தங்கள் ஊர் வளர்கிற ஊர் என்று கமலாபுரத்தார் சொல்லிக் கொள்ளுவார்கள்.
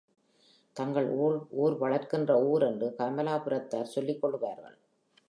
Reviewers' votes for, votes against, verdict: 1, 2, rejected